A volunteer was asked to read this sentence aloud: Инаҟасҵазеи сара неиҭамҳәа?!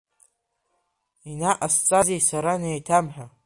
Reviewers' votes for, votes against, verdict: 2, 1, accepted